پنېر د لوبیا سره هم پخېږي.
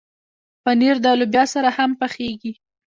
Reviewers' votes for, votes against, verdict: 0, 2, rejected